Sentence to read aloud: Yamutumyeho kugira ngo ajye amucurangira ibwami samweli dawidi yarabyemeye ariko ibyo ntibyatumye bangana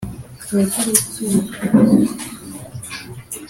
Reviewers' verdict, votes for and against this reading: rejected, 1, 2